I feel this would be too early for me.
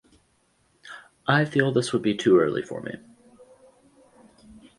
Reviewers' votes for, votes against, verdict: 4, 0, accepted